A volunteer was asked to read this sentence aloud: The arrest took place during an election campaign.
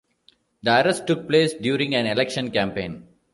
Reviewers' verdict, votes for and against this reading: accepted, 2, 0